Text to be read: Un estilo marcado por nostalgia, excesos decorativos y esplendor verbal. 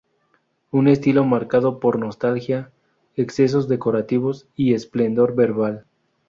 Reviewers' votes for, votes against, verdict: 4, 0, accepted